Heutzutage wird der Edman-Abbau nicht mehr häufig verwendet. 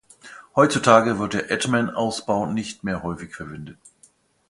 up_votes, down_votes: 0, 2